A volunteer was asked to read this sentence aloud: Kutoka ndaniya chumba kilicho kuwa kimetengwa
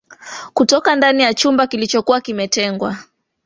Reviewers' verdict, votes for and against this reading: rejected, 0, 2